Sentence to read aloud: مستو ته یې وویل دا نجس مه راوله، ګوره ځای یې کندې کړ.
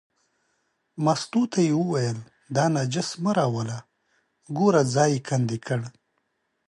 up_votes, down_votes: 2, 0